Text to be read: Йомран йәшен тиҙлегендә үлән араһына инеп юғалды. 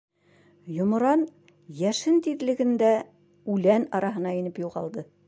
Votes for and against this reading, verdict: 3, 0, accepted